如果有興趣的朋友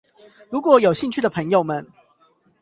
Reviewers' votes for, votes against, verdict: 0, 8, rejected